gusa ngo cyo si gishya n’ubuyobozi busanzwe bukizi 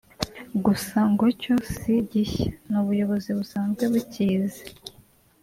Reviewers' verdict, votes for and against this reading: rejected, 0, 2